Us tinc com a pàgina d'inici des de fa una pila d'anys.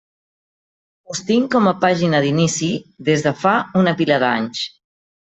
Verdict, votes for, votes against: accepted, 2, 0